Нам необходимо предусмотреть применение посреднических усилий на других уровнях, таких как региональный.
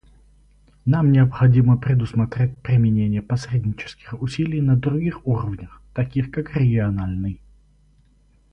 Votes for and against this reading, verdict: 4, 0, accepted